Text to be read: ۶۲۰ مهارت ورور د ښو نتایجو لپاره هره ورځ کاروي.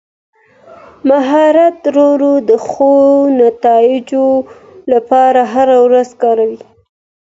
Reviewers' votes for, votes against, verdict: 0, 2, rejected